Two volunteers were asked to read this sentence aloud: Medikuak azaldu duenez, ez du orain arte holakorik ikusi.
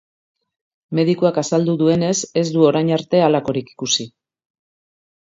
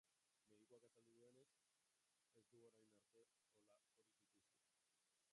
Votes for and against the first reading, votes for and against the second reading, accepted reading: 2, 1, 0, 2, first